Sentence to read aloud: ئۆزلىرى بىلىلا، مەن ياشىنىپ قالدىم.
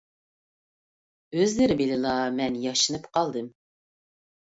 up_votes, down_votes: 2, 0